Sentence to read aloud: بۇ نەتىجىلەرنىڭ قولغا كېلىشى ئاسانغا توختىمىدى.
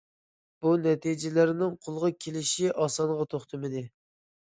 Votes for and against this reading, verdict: 2, 0, accepted